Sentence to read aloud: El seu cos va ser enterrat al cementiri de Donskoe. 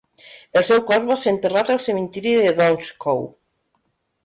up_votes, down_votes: 1, 2